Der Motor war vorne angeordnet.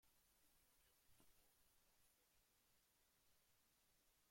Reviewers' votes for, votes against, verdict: 0, 2, rejected